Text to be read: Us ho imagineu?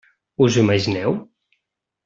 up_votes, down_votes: 2, 0